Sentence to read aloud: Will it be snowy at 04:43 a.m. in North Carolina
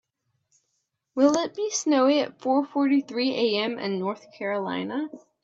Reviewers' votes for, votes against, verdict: 0, 2, rejected